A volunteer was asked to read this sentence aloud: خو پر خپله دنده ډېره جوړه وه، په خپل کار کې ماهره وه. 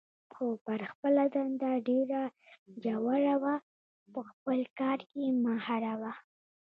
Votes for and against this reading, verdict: 2, 0, accepted